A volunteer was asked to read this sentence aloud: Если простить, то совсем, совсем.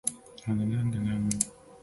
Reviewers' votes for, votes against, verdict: 0, 2, rejected